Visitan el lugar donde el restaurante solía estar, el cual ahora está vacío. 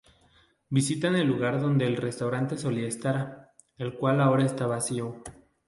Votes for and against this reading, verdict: 2, 0, accepted